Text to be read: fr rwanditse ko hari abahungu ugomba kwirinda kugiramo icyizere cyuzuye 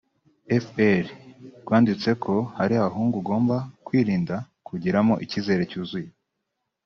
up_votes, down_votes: 0, 2